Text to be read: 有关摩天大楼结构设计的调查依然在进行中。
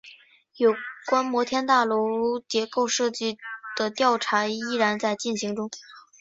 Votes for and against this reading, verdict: 2, 0, accepted